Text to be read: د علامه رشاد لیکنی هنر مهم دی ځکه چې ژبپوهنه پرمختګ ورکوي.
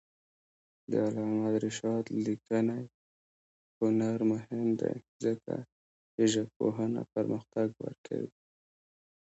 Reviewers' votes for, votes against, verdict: 2, 1, accepted